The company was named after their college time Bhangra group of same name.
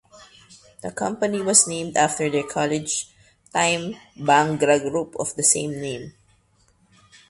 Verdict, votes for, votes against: rejected, 1, 2